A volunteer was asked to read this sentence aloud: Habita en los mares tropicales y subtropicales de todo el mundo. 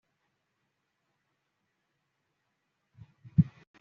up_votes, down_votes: 1, 2